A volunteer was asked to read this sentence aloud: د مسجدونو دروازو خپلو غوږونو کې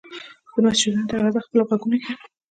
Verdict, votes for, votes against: accepted, 2, 0